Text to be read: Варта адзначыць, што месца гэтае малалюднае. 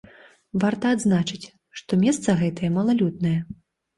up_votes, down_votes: 2, 0